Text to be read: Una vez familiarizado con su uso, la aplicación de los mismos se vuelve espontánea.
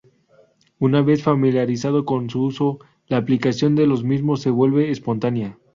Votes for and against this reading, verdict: 2, 2, rejected